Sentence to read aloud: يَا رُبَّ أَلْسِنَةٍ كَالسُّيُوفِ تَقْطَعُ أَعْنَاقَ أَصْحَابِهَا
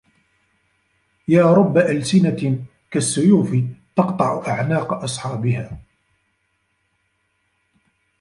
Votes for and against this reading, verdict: 0, 2, rejected